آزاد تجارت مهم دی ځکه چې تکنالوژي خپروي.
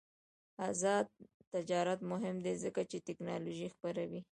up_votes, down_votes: 0, 2